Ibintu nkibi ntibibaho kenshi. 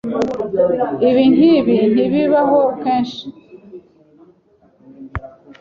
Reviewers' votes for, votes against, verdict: 2, 0, accepted